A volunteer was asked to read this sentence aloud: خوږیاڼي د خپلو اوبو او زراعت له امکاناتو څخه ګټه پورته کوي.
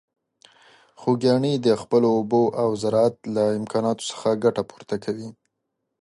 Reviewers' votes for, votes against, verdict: 2, 0, accepted